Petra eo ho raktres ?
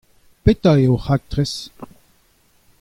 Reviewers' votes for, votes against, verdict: 2, 0, accepted